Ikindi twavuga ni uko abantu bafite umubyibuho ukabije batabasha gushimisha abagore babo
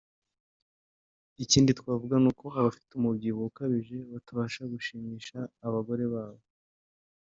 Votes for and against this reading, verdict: 2, 0, accepted